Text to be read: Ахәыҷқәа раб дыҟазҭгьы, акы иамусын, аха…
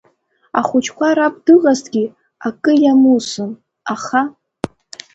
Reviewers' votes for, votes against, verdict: 2, 0, accepted